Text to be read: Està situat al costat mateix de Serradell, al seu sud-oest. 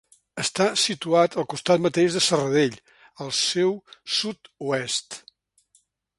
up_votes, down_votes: 3, 0